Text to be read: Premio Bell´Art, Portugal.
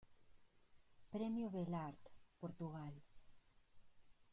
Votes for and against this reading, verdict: 1, 2, rejected